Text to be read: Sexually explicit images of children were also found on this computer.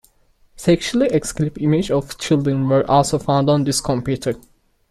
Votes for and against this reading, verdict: 1, 2, rejected